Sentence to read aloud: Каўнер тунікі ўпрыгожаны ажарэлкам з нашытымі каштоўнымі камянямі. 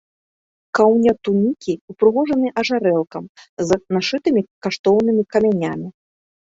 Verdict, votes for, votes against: accepted, 2, 0